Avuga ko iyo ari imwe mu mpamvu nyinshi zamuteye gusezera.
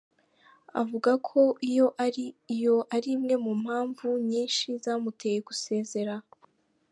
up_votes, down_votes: 1, 2